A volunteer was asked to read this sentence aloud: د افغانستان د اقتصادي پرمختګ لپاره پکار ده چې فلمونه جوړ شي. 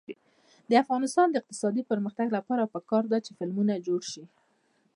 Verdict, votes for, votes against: rejected, 0, 2